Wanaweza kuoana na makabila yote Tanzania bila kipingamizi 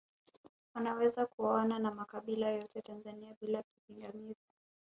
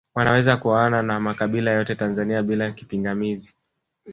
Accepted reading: second